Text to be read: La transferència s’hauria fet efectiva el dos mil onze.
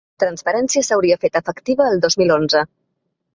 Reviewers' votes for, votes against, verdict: 0, 2, rejected